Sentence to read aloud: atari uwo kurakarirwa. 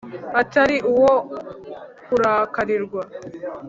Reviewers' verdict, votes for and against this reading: accepted, 2, 0